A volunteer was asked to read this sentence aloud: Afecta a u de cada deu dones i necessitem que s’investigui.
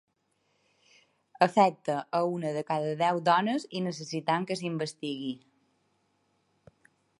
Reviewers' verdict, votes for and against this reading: accepted, 2, 1